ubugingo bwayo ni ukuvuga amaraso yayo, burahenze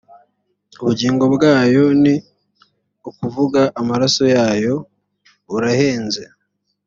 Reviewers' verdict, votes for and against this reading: accepted, 2, 0